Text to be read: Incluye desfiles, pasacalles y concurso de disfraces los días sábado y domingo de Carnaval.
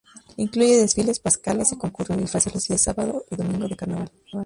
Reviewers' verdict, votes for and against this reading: rejected, 0, 2